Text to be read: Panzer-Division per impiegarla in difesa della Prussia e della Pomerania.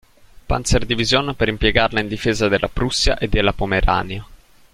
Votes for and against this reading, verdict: 2, 0, accepted